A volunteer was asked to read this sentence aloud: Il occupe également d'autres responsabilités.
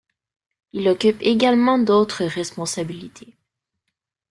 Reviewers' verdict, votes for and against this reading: accepted, 3, 0